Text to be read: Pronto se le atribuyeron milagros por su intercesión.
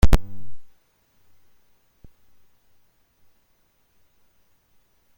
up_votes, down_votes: 0, 2